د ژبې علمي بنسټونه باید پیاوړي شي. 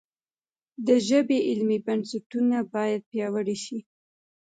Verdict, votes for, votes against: rejected, 1, 2